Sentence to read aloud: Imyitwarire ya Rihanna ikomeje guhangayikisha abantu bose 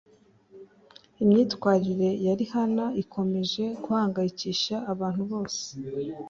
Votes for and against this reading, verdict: 3, 0, accepted